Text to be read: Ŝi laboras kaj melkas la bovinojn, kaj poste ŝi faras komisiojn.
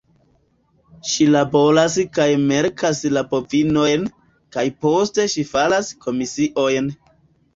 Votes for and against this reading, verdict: 2, 1, accepted